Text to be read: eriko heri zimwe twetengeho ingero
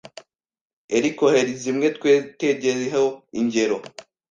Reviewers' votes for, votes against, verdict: 1, 2, rejected